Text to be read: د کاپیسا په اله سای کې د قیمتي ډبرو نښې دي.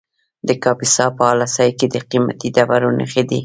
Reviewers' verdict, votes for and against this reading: rejected, 0, 3